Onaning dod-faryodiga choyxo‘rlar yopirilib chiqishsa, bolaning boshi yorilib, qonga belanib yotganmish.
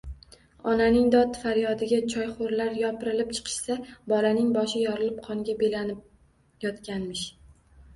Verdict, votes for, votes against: rejected, 1, 2